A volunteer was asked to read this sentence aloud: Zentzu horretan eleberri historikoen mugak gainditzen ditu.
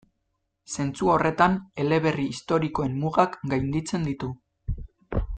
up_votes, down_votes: 2, 0